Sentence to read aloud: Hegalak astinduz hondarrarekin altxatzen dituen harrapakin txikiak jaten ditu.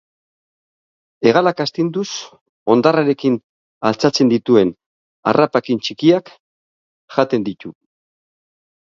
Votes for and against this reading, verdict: 3, 0, accepted